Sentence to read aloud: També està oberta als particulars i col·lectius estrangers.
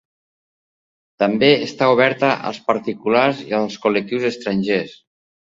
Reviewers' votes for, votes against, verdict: 0, 2, rejected